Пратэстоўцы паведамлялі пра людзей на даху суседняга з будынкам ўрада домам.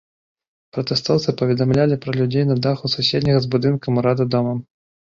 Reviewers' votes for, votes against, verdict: 2, 0, accepted